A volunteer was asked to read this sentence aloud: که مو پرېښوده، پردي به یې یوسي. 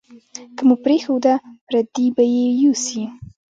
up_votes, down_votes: 2, 0